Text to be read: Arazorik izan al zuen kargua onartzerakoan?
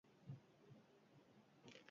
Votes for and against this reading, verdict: 0, 2, rejected